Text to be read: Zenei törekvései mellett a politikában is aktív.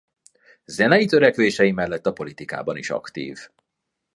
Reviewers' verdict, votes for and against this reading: accepted, 2, 0